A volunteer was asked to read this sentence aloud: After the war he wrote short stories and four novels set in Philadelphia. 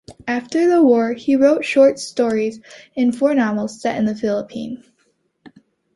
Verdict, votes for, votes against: rejected, 0, 3